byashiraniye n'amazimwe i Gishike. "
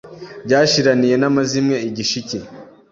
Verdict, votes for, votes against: accepted, 2, 0